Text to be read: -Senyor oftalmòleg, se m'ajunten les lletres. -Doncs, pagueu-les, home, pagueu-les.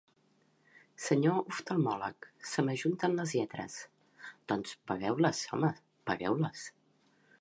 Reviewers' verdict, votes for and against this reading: accepted, 3, 0